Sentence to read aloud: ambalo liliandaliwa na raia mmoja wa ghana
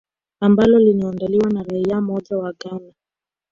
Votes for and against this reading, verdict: 0, 2, rejected